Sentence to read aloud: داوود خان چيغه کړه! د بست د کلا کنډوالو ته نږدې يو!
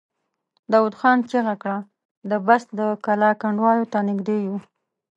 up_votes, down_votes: 2, 0